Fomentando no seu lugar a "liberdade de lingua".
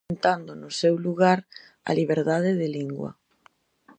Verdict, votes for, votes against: rejected, 0, 2